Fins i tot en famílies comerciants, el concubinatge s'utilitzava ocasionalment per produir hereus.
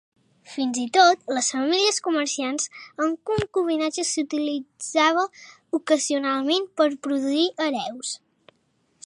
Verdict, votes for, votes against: rejected, 0, 3